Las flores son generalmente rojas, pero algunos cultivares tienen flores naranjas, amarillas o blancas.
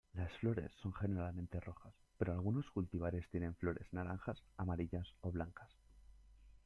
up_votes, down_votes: 2, 0